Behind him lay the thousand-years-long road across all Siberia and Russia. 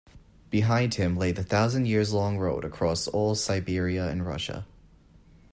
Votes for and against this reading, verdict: 2, 0, accepted